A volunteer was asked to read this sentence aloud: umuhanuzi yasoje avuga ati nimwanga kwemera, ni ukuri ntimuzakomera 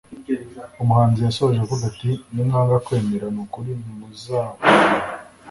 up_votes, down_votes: 1, 2